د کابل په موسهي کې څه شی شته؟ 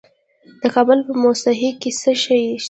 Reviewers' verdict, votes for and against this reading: rejected, 1, 2